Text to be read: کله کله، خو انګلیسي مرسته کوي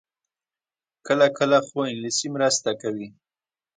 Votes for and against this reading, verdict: 1, 2, rejected